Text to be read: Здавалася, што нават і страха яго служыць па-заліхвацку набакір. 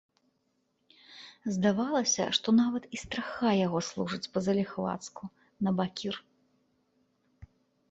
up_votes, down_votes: 2, 0